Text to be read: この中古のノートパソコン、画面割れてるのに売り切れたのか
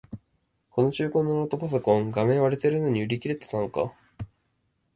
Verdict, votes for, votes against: rejected, 1, 2